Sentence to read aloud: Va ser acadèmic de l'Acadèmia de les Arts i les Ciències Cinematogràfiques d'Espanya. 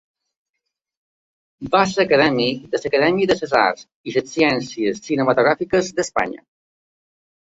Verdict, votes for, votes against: rejected, 1, 2